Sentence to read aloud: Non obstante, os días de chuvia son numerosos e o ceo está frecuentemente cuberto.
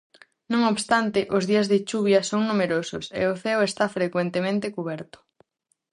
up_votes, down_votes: 4, 0